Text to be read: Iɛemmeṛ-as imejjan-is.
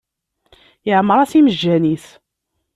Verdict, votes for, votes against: accepted, 2, 0